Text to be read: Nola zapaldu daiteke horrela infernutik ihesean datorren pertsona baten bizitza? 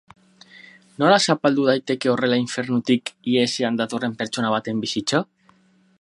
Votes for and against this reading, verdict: 6, 0, accepted